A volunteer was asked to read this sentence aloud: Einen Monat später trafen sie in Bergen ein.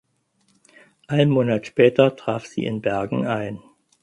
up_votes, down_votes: 0, 4